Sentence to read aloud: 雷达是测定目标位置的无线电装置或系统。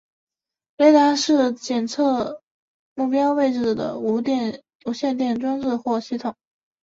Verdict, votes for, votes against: rejected, 3, 4